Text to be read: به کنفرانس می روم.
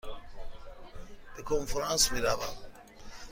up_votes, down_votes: 2, 0